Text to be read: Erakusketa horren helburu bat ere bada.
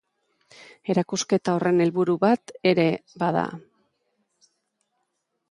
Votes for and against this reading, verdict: 2, 0, accepted